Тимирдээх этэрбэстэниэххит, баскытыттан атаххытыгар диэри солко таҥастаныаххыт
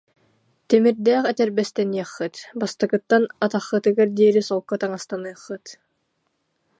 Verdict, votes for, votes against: rejected, 0, 2